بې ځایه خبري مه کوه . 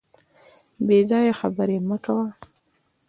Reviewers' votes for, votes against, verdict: 2, 0, accepted